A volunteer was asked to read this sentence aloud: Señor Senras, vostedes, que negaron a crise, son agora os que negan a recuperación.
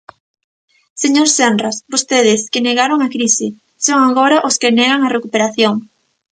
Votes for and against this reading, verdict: 2, 0, accepted